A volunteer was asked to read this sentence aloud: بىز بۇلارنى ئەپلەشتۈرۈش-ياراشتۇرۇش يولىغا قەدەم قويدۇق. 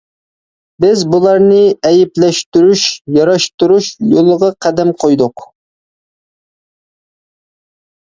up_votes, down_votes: 0, 2